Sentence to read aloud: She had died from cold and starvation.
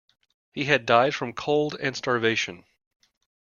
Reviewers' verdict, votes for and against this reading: rejected, 1, 2